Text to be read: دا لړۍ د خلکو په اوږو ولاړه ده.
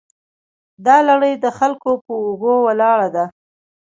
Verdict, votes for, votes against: accepted, 2, 0